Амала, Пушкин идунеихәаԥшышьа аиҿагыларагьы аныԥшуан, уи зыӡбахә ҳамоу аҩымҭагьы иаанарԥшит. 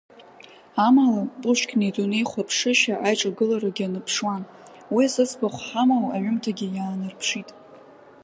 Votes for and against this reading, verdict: 3, 2, accepted